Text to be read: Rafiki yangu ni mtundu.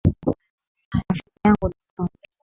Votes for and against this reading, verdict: 1, 2, rejected